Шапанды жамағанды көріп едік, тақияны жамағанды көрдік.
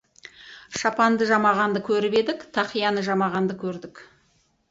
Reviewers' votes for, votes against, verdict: 2, 0, accepted